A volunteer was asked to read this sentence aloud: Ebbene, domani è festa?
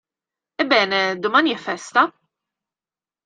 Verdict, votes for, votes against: accepted, 2, 0